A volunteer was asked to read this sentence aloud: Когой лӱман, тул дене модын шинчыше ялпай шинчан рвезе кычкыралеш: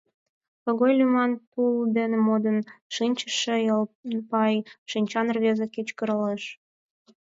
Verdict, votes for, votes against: rejected, 0, 10